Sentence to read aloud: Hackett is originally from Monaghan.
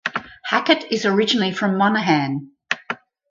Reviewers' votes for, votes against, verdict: 2, 2, rejected